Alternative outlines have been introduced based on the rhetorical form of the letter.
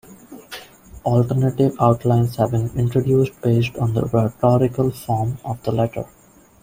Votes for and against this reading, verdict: 2, 1, accepted